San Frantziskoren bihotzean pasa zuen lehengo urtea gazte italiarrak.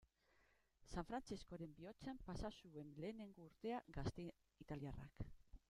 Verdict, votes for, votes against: rejected, 1, 2